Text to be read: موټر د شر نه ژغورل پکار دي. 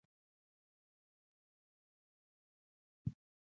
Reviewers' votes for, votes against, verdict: 1, 2, rejected